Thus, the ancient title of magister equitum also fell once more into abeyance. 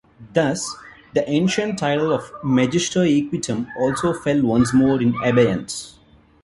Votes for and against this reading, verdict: 2, 1, accepted